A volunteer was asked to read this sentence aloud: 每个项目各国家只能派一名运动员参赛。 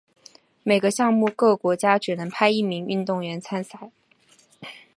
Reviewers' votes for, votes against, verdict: 2, 0, accepted